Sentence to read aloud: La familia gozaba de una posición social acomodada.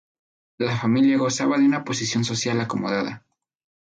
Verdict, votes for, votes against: accepted, 2, 0